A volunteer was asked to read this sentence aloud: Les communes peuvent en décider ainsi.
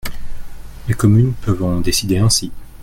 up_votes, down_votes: 2, 0